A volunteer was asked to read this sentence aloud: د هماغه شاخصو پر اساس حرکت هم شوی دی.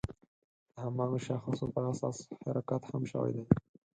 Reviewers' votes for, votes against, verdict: 0, 4, rejected